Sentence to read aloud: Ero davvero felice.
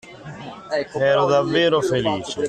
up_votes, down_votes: 0, 2